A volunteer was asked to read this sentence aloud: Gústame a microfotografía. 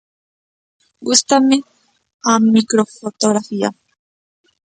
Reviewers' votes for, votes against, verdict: 2, 0, accepted